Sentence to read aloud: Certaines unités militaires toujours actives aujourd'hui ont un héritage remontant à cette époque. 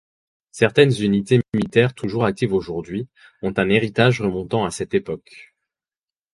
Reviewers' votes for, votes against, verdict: 2, 4, rejected